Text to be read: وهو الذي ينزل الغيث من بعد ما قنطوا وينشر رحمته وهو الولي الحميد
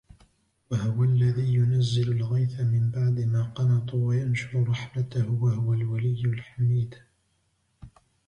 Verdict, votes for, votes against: rejected, 1, 2